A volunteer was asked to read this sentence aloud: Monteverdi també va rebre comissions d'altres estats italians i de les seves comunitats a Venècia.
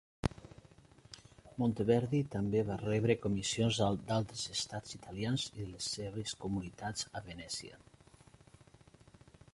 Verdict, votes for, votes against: rejected, 1, 2